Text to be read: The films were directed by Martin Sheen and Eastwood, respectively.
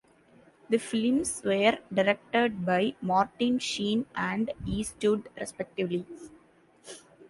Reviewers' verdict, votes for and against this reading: accepted, 2, 1